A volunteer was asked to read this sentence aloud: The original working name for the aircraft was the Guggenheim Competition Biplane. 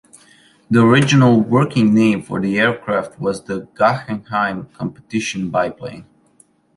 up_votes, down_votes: 2, 0